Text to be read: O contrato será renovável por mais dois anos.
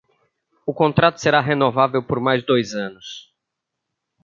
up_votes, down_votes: 2, 0